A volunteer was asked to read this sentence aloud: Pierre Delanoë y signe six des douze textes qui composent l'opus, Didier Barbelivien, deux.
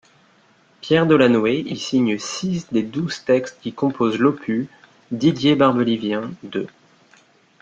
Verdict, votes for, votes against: rejected, 1, 2